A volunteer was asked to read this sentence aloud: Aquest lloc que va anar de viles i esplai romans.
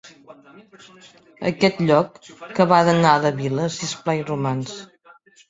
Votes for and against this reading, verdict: 1, 2, rejected